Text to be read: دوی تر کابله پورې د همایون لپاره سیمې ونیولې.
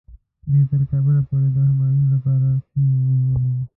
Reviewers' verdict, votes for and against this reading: rejected, 0, 2